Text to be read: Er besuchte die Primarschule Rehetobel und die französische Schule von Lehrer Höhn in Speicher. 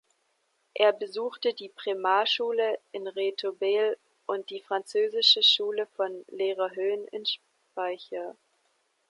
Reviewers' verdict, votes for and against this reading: rejected, 1, 2